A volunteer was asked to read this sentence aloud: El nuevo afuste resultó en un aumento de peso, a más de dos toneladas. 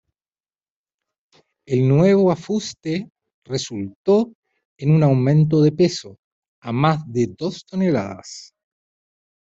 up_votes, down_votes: 2, 0